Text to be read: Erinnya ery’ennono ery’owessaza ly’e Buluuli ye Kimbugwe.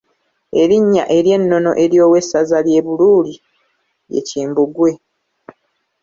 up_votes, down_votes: 2, 0